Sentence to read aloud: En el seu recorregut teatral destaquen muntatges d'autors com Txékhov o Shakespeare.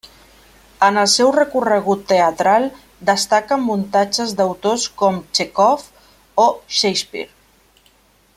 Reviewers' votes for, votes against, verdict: 3, 0, accepted